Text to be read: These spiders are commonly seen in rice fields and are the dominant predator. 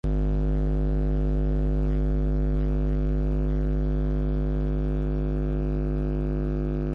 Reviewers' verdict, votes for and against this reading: rejected, 0, 2